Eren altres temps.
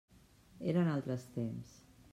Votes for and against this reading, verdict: 3, 0, accepted